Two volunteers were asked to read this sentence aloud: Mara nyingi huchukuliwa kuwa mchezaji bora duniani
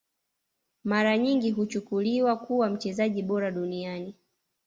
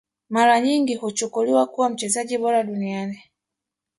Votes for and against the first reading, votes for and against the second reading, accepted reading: 2, 1, 0, 2, first